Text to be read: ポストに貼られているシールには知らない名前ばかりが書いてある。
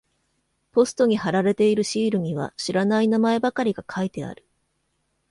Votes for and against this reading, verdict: 2, 0, accepted